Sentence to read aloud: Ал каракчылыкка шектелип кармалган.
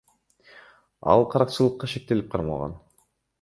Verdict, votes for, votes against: rejected, 1, 2